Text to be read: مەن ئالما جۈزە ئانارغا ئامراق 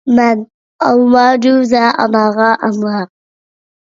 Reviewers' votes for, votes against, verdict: 1, 2, rejected